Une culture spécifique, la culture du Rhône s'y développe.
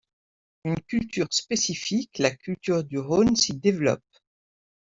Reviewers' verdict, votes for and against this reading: accepted, 2, 0